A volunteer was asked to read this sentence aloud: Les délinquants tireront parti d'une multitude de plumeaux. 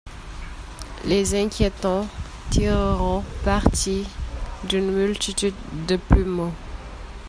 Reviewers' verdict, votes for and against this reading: rejected, 0, 2